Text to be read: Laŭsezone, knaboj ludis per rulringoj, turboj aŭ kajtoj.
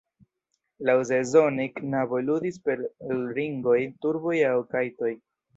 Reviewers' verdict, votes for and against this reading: rejected, 1, 2